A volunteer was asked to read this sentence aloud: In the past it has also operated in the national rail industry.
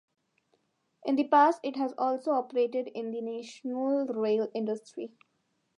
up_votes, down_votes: 1, 2